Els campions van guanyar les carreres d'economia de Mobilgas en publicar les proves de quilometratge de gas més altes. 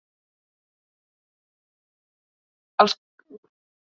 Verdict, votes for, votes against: rejected, 0, 2